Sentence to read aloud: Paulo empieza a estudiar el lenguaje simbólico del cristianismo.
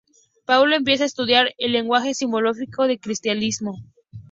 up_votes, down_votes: 0, 2